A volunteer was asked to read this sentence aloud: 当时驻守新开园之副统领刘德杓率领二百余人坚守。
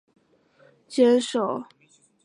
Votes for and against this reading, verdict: 0, 3, rejected